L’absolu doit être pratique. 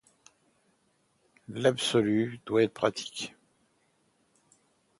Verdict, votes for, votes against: accepted, 2, 0